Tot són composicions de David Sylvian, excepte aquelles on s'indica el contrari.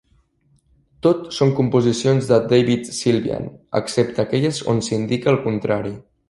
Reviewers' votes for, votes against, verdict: 3, 0, accepted